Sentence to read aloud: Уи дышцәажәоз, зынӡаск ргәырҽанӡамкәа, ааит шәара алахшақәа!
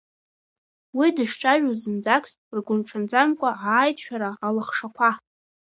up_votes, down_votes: 0, 2